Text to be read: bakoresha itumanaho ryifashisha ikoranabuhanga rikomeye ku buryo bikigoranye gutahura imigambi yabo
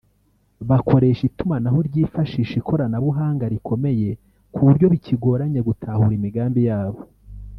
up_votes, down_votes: 0, 2